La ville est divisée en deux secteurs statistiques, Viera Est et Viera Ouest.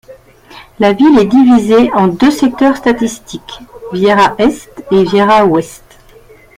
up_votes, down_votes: 2, 1